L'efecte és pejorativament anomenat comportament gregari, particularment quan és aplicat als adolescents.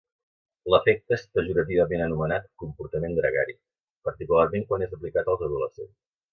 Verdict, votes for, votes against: accepted, 3, 0